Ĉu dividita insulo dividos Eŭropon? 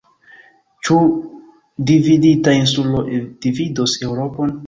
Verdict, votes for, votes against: rejected, 1, 2